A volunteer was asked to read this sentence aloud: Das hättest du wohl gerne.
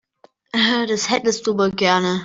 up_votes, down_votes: 1, 2